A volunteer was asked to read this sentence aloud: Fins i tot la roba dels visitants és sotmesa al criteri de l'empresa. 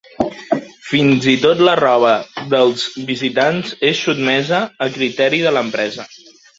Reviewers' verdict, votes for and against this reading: accepted, 2, 0